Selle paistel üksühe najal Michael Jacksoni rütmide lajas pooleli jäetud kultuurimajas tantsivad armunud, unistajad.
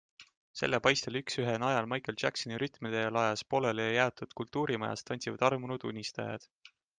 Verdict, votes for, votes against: accepted, 2, 0